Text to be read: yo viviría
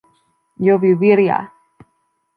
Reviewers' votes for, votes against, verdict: 1, 2, rejected